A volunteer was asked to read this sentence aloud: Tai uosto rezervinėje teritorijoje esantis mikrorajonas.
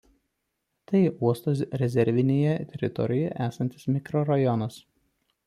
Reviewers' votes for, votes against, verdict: 1, 2, rejected